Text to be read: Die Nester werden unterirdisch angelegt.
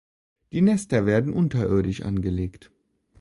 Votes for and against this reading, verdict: 2, 1, accepted